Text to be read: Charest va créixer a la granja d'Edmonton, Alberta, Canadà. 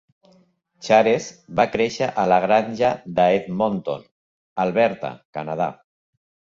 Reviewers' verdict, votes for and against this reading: rejected, 1, 2